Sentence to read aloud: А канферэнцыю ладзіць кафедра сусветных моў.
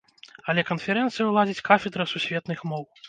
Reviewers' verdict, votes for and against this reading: rejected, 0, 2